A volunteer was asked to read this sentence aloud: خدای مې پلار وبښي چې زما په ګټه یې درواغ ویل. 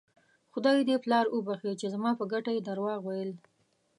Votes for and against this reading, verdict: 0, 2, rejected